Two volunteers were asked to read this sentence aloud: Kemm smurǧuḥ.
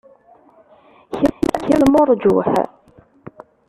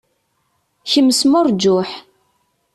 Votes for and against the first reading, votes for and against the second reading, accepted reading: 0, 2, 2, 0, second